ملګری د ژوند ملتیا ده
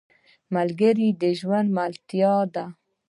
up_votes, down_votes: 2, 0